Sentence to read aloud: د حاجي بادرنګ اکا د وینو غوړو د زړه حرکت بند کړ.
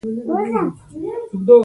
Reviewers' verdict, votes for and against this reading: rejected, 0, 2